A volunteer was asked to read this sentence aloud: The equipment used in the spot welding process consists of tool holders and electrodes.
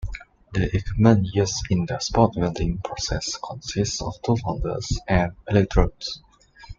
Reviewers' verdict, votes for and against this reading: accepted, 2, 1